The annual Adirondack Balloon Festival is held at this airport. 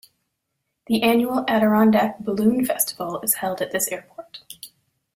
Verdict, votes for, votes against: accepted, 2, 1